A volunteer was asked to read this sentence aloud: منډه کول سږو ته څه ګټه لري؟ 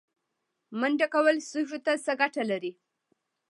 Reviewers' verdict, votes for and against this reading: accepted, 2, 0